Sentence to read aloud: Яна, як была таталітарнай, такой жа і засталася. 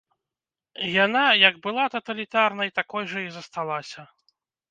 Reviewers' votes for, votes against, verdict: 2, 0, accepted